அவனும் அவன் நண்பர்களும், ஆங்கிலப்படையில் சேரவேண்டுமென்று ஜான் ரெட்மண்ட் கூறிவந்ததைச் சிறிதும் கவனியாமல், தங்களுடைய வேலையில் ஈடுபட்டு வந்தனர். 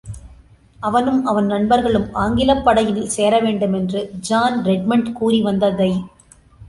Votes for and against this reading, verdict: 0, 2, rejected